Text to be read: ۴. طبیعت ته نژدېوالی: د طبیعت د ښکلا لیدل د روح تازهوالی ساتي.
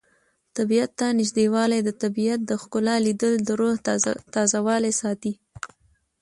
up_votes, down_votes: 0, 2